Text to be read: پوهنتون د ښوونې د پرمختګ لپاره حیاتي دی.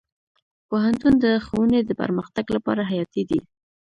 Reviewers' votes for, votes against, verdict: 0, 2, rejected